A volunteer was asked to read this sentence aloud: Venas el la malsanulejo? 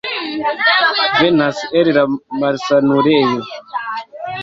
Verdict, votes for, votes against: rejected, 0, 2